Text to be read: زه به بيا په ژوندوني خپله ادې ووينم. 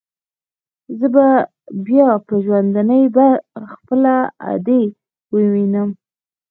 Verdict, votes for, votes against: accepted, 2, 1